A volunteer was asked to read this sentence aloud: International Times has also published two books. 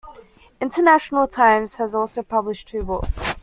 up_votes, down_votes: 2, 1